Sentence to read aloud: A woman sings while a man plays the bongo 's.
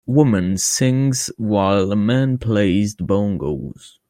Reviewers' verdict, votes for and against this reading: accepted, 2, 1